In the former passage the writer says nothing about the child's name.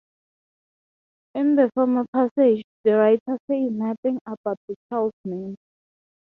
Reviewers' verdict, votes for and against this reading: accepted, 3, 0